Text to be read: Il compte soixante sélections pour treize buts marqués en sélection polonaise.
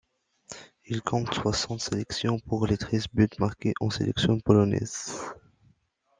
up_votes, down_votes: 2, 0